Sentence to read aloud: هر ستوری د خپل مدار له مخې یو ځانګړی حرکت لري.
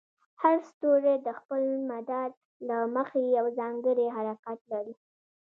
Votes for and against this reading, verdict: 1, 2, rejected